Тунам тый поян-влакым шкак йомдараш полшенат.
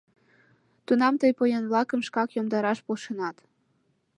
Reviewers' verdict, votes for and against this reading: accepted, 2, 0